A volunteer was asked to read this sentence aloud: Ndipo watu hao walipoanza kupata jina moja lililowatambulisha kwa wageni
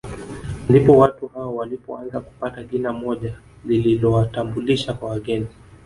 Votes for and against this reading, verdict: 3, 2, accepted